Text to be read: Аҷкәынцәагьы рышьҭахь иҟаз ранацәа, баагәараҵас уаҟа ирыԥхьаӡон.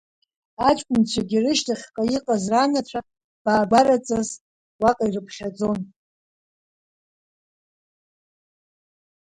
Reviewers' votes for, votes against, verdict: 1, 2, rejected